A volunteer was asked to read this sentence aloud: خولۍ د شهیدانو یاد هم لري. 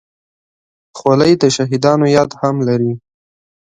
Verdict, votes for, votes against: accepted, 2, 0